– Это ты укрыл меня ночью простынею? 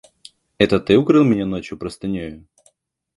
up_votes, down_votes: 2, 0